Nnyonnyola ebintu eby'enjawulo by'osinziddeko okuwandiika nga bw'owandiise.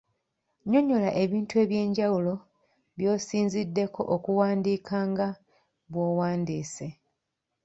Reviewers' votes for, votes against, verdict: 2, 0, accepted